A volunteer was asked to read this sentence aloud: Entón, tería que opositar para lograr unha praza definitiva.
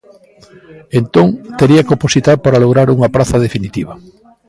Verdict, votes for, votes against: accepted, 2, 0